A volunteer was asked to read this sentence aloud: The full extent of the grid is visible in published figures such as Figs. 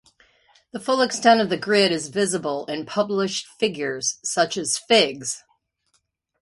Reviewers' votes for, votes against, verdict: 2, 0, accepted